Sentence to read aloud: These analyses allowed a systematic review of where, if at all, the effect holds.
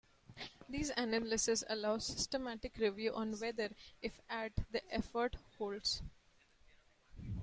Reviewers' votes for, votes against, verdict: 0, 2, rejected